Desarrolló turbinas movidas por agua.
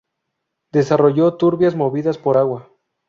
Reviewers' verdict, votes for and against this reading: rejected, 0, 2